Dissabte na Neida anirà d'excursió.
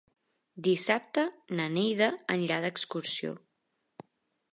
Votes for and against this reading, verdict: 3, 0, accepted